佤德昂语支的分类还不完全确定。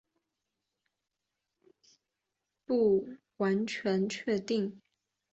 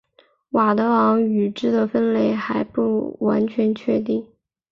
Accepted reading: second